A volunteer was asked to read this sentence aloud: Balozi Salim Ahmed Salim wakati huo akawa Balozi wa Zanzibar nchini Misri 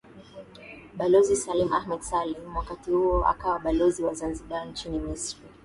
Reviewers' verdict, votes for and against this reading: accepted, 13, 0